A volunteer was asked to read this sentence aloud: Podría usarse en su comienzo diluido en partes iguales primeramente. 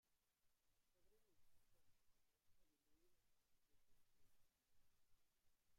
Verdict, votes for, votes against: rejected, 0, 2